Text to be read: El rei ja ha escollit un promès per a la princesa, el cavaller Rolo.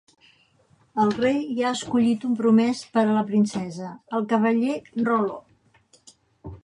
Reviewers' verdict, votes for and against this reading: accepted, 2, 0